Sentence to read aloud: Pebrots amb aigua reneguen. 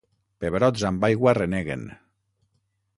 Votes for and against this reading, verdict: 6, 0, accepted